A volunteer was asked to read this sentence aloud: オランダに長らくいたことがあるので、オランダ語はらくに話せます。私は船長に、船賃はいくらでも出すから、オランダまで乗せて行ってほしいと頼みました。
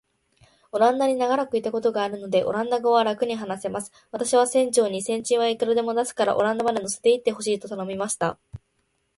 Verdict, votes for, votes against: accepted, 4, 0